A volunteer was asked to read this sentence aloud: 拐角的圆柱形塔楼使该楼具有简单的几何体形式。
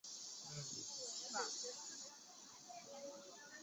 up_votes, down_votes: 0, 2